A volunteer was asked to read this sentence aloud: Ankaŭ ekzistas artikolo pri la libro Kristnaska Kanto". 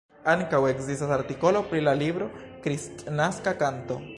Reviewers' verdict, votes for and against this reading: rejected, 1, 2